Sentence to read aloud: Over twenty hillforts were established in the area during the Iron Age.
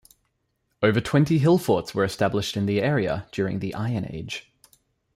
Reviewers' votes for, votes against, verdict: 2, 0, accepted